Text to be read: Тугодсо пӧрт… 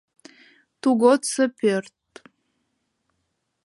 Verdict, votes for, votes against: accepted, 2, 0